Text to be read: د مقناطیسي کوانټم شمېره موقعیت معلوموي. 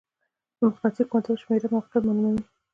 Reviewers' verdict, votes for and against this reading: accepted, 2, 1